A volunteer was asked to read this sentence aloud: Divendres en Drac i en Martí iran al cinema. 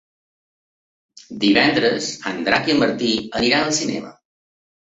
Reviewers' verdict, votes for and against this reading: rejected, 0, 2